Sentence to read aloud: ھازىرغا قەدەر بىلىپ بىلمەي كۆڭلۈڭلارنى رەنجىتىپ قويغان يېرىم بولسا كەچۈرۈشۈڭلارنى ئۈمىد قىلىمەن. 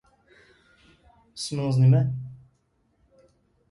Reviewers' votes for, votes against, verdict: 0, 2, rejected